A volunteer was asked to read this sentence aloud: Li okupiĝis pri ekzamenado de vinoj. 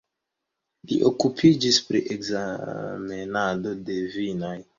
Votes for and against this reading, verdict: 1, 2, rejected